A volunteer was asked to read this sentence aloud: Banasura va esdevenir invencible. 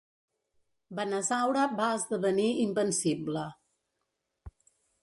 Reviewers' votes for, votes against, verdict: 1, 2, rejected